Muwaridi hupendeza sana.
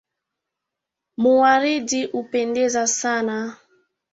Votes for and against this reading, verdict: 2, 1, accepted